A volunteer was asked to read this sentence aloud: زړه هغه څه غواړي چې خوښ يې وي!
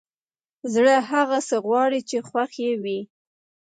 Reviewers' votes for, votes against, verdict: 0, 2, rejected